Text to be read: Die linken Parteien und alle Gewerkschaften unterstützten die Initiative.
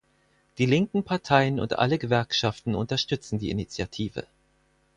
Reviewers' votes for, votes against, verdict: 2, 4, rejected